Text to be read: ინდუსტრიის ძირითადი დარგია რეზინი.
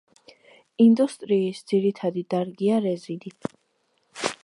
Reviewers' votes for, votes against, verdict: 2, 0, accepted